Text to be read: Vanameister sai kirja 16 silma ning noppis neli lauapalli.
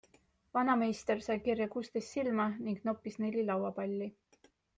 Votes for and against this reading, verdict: 0, 2, rejected